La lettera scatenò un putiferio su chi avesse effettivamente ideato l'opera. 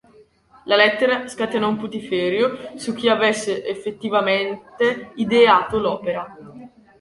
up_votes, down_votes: 2, 1